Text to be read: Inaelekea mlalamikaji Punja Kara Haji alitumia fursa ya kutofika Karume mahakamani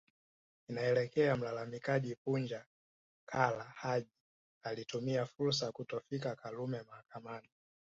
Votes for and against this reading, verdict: 2, 0, accepted